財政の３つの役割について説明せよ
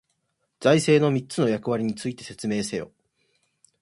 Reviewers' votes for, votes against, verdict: 0, 2, rejected